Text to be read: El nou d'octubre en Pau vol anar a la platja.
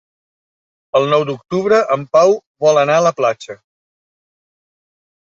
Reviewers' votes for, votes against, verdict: 4, 0, accepted